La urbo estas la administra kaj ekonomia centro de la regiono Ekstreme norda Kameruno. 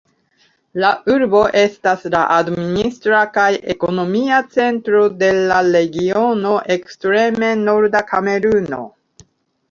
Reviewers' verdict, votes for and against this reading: rejected, 2, 3